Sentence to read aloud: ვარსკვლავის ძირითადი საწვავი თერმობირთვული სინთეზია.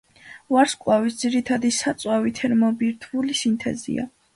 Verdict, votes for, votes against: accepted, 2, 0